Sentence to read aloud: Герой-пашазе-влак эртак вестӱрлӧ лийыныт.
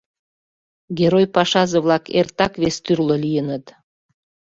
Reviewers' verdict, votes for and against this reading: accepted, 2, 0